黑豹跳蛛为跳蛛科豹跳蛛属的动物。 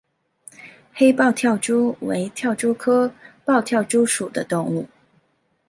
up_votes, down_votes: 2, 0